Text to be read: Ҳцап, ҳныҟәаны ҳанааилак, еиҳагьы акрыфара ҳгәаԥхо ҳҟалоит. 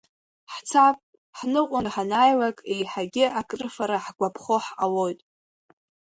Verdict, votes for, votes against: accepted, 2, 0